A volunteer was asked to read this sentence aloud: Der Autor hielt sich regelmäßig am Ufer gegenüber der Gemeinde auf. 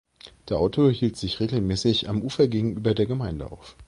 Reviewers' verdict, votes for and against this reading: accepted, 2, 0